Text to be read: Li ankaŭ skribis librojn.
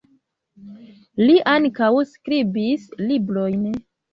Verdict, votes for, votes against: accepted, 2, 0